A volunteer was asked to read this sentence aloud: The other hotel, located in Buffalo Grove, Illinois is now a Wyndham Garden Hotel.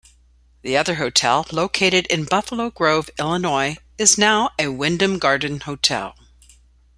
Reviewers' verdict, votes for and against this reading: accepted, 2, 0